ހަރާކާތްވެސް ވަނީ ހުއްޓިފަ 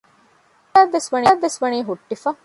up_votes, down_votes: 0, 2